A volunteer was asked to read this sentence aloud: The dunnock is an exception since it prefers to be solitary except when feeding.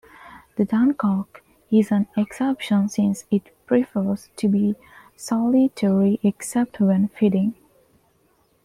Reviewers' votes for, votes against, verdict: 0, 2, rejected